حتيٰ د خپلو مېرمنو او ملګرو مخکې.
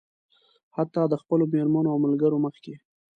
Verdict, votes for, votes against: accepted, 2, 0